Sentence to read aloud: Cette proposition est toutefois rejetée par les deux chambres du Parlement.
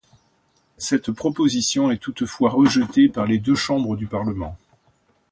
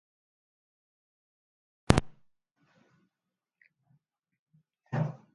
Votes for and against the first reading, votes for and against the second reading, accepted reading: 2, 0, 0, 2, first